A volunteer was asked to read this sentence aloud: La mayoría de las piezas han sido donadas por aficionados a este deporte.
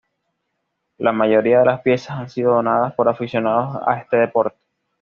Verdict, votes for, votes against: accepted, 2, 1